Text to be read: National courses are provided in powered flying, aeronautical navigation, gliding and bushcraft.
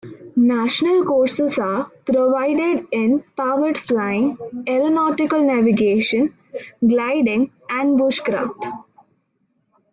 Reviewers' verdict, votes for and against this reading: accepted, 2, 0